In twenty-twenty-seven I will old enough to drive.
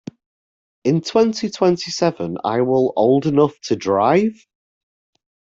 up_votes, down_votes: 2, 0